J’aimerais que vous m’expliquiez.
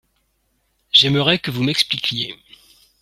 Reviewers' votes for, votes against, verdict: 1, 2, rejected